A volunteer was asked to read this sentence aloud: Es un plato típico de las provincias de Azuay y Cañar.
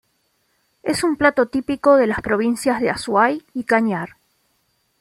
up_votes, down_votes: 2, 0